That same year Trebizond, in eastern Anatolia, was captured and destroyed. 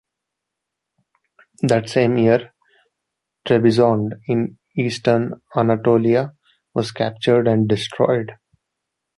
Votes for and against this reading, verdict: 3, 0, accepted